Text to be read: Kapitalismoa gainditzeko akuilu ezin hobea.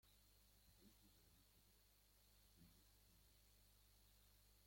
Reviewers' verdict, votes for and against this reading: rejected, 0, 2